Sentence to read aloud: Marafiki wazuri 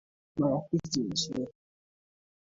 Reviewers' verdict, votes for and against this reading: rejected, 0, 2